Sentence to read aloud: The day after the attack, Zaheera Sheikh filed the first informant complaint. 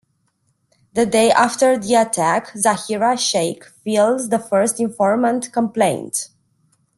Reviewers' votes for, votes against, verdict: 0, 2, rejected